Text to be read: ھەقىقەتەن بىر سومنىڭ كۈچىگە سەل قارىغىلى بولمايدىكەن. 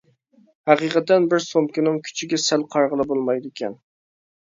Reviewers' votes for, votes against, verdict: 0, 2, rejected